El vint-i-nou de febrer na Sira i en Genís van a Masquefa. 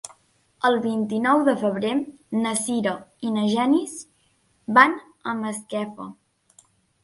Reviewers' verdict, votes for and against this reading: rejected, 1, 2